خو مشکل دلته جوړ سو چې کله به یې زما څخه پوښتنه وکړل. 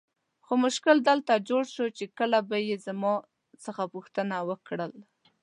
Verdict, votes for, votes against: accepted, 2, 0